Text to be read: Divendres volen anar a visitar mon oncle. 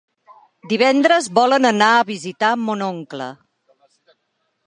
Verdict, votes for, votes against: accepted, 4, 0